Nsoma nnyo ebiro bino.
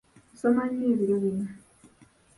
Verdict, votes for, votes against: rejected, 0, 2